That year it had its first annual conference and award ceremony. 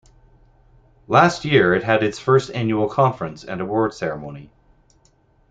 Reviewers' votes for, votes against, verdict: 0, 2, rejected